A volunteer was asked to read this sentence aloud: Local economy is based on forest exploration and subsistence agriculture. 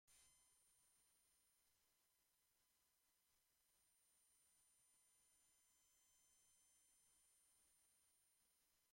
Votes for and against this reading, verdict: 0, 3, rejected